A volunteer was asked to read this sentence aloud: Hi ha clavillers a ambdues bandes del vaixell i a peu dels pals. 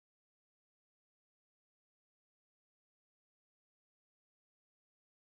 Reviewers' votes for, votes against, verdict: 0, 2, rejected